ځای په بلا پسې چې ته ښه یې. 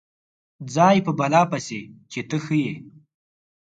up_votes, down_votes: 4, 0